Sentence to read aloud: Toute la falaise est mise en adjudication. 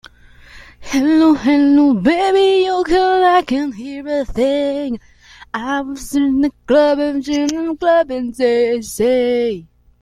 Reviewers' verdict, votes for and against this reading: rejected, 0, 2